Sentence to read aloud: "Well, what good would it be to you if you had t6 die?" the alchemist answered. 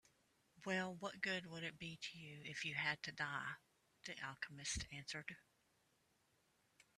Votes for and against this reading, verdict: 0, 2, rejected